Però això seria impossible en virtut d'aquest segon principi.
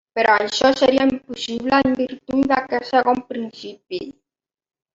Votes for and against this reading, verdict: 2, 0, accepted